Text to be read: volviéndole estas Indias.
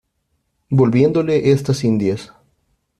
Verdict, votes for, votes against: accepted, 2, 0